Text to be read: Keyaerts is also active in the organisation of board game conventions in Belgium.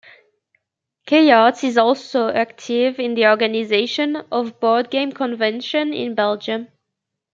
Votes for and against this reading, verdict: 1, 2, rejected